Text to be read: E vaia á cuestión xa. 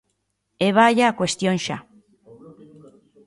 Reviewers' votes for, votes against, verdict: 2, 0, accepted